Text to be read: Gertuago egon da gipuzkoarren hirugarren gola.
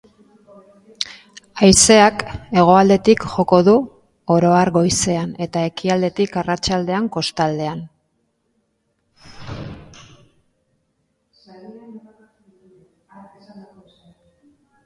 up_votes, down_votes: 0, 2